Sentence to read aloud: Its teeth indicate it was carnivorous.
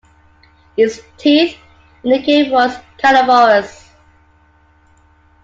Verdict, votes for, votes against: rejected, 1, 2